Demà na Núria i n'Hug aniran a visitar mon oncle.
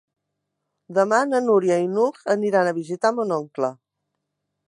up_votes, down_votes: 3, 0